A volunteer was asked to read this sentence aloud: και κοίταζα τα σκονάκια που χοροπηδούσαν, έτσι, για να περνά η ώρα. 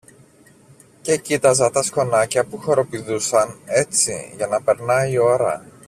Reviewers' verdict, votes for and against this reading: accepted, 2, 0